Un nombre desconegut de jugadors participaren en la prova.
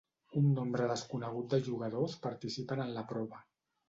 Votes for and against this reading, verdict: 1, 2, rejected